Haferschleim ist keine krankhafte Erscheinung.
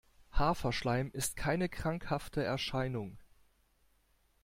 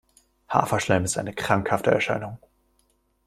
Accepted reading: first